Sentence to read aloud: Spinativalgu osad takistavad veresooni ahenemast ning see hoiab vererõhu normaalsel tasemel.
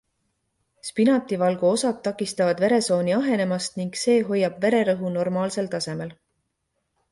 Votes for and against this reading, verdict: 2, 0, accepted